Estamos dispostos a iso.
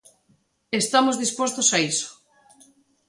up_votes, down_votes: 2, 0